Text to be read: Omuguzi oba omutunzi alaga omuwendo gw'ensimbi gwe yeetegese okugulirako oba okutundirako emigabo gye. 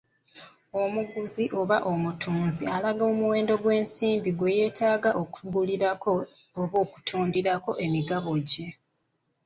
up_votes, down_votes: 1, 2